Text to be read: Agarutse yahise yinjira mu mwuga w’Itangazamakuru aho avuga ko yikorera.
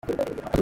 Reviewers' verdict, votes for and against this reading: rejected, 0, 2